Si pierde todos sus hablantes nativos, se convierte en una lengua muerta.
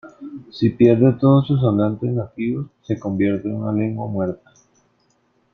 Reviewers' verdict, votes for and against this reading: rejected, 1, 2